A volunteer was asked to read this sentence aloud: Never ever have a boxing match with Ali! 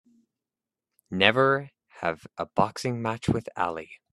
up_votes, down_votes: 0, 3